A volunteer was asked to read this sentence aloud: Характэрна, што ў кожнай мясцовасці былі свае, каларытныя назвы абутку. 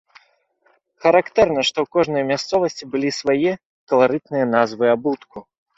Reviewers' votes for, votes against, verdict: 3, 0, accepted